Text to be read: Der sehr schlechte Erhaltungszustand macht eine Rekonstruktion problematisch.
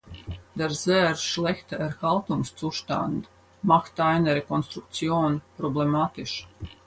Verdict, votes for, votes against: accepted, 4, 0